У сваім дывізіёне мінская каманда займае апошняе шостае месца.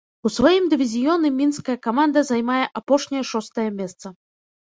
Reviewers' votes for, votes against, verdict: 1, 2, rejected